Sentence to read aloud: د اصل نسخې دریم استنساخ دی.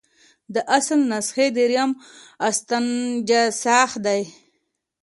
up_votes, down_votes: 2, 1